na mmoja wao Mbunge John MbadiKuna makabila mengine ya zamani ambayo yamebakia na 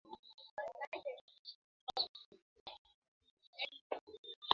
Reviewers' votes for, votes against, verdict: 0, 3, rejected